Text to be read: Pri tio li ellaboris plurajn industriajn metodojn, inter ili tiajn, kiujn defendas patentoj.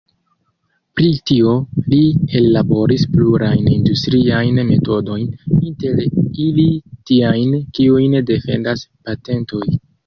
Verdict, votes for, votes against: rejected, 0, 2